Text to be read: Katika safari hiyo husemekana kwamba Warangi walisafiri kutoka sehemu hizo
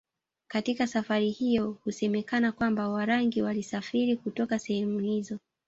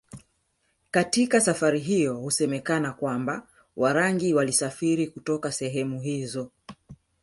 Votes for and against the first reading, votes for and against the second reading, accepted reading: 1, 2, 2, 0, second